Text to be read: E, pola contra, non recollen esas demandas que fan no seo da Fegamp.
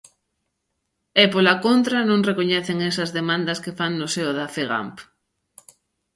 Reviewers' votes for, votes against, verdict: 1, 2, rejected